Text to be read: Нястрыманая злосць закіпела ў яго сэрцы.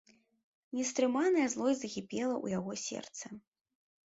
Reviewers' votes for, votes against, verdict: 1, 2, rejected